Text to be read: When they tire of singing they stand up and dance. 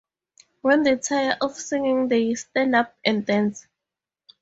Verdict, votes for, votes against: accepted, 4, 0